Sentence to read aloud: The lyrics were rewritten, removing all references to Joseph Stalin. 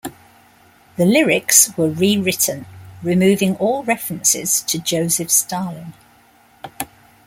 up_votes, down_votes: 1, 2